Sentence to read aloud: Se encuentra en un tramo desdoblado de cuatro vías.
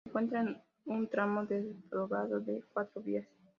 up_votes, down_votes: 0, 2